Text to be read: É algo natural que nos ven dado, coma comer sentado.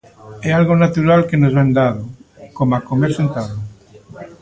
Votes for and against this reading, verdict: 0, 2, rejected